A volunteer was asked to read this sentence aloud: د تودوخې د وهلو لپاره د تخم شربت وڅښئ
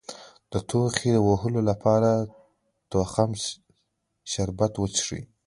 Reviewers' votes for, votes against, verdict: 0, 2, rejected